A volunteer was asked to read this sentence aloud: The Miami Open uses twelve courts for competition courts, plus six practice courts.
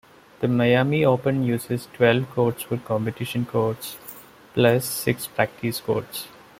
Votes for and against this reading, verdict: 2, 0, accepted